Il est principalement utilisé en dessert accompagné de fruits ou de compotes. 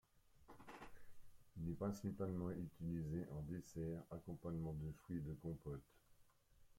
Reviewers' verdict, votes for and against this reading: rejected, 0, 3